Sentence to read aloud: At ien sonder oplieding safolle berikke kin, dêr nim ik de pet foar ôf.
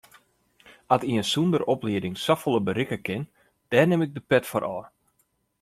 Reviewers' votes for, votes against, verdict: 2, 0, accepted